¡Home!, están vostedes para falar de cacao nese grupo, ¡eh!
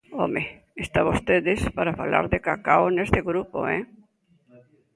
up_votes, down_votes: 0, 2